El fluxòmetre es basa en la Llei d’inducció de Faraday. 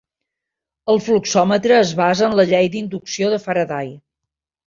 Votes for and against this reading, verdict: 2, 0, accepted